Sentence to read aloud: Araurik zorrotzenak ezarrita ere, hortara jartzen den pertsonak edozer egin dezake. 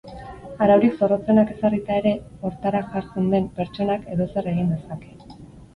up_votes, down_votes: 4, 2